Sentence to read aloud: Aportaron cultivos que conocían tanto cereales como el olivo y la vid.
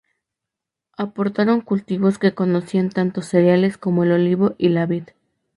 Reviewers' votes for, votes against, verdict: 4, 0, accepted